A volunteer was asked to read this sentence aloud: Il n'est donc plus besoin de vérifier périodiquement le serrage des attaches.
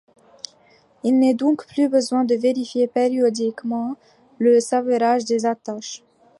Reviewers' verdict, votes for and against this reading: accepted, 2, 1